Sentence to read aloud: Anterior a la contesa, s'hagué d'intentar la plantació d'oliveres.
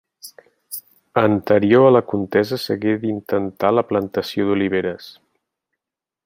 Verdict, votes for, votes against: accepted, 3, 1